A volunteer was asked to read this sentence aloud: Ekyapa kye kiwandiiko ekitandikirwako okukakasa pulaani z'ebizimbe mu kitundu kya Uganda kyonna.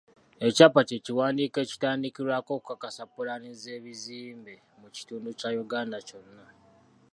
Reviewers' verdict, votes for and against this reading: accepted, 2, 0